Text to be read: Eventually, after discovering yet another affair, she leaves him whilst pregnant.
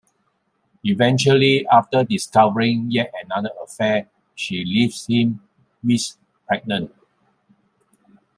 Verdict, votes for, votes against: rejected, 1, 2